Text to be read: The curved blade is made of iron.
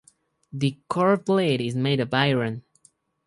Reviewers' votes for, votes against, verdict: 0, 2, rejected